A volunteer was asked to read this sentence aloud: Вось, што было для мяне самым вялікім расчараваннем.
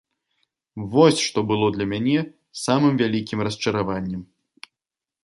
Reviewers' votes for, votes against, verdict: 2, 0, accepted